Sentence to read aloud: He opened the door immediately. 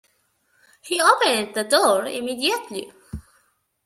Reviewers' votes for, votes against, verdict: 2, 0, accepted